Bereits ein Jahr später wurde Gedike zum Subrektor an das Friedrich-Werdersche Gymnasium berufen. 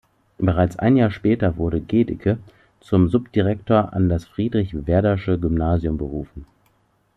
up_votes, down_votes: 1, 2